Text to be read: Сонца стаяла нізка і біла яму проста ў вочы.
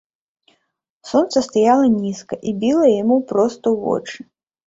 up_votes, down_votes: 2, 0